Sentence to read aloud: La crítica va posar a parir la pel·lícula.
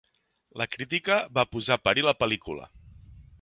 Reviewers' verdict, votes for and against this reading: accepted, 2, 0